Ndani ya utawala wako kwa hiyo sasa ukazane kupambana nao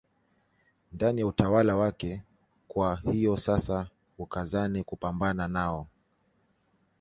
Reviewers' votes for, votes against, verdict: 0, 2, rejected